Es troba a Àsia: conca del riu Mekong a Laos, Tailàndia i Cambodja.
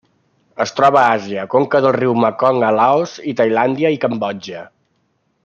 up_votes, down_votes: 0, 2